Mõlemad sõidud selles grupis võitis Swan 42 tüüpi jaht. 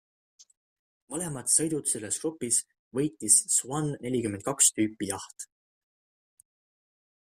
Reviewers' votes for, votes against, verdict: 0, 2, rejected